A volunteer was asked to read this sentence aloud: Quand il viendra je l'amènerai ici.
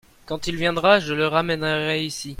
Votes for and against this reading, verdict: 0, 2, rejected